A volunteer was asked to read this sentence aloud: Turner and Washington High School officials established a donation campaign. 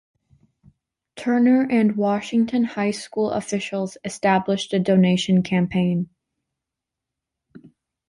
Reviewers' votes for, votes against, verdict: 2, 0, accepted